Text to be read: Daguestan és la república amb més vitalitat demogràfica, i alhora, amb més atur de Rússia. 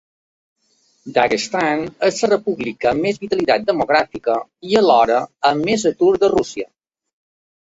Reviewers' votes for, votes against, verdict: 1, 2, rejected